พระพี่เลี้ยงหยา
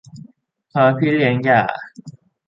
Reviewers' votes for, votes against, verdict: 0, 2, rejected